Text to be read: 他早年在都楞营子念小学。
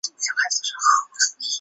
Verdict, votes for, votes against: rejected, 0, 3